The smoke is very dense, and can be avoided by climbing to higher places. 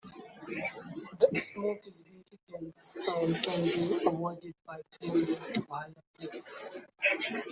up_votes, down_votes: 1, 2